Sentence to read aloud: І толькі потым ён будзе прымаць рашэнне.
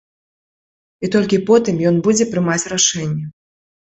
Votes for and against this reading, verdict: 2, 0, accepted